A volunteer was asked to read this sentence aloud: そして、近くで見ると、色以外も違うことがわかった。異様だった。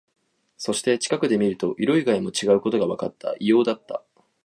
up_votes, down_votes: 2, 0